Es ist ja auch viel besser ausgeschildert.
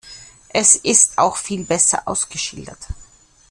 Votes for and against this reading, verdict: 0, 2, rejected